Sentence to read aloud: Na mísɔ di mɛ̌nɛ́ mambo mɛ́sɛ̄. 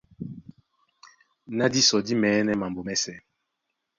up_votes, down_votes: 1, 2